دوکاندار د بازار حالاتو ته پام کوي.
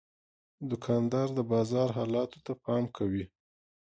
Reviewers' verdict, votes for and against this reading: accepted, 3, 0